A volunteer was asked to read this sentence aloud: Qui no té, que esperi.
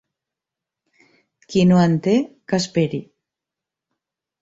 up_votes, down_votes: 0, 2